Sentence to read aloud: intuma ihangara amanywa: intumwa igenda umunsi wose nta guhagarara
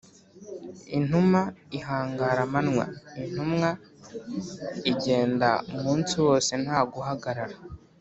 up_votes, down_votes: 3, 0